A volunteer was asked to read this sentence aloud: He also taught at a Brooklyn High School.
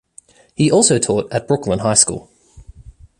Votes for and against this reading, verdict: 0, 2, rejected